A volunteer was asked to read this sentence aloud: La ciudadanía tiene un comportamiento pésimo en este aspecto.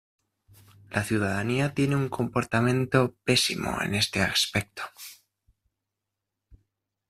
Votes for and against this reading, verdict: 1, 2, rejected